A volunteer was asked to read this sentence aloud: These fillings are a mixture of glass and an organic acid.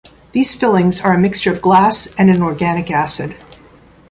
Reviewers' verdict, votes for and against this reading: accepted, 2, 0